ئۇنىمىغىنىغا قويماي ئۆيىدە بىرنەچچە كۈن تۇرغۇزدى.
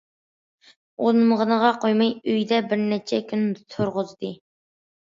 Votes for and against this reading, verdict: 2, 0, accepted